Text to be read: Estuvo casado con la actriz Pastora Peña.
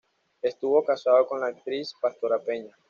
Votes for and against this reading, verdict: 2, 0, accepted